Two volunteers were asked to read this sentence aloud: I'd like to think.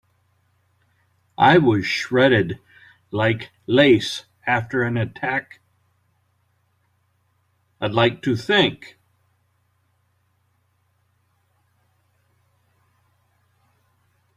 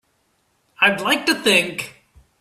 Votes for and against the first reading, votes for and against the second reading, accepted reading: 0, 3, 2, 0, second